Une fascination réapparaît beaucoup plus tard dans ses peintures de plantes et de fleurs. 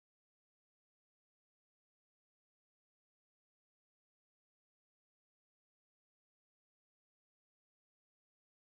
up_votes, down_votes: 0, 2